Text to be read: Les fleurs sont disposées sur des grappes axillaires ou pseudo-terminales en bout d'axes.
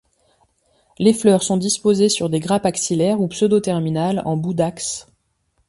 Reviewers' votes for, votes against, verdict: 2, 0, accepted